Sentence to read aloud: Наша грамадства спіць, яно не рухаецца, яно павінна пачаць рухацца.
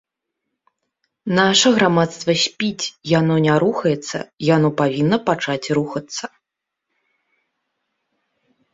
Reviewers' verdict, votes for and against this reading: accepted, 2, 0